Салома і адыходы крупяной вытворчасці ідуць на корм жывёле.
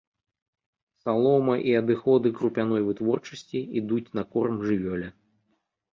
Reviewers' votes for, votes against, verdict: 2, 0, accepted